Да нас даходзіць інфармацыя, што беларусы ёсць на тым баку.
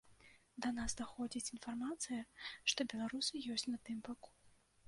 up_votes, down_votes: 0, 2